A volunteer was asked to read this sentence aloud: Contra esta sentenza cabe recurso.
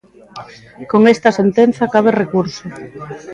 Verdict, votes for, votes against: rejected, 1, 2